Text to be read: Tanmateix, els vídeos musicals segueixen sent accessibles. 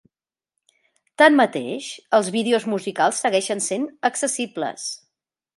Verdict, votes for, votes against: accepted, 4, 0